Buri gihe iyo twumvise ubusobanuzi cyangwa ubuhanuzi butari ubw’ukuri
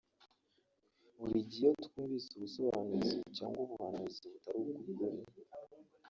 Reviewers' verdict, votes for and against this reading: rejected, 0, 3